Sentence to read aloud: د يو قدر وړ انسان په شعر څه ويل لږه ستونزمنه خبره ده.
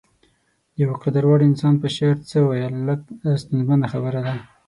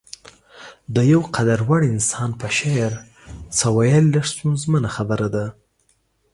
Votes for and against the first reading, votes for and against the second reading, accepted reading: 3, 6, 2, 0, second